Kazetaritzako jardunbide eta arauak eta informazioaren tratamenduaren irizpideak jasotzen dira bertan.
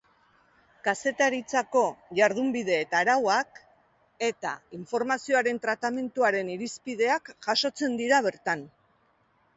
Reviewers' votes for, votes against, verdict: 2, 0, accepted